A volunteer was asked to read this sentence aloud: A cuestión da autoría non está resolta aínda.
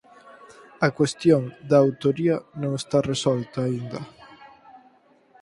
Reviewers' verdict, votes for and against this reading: accepted, 4, 0